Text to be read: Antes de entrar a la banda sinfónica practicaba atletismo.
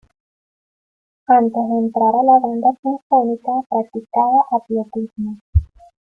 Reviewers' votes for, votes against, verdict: 1, 2, rejected